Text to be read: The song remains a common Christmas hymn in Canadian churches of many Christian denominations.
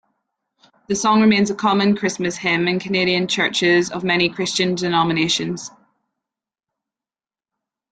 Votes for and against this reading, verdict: 2, 0, accepted